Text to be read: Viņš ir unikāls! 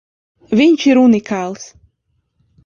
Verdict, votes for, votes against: accepted, 2, 0